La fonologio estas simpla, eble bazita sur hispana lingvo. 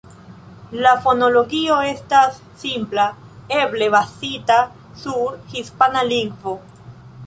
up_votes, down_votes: 1, 2